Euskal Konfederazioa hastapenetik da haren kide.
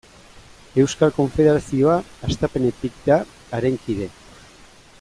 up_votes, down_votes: 2, 0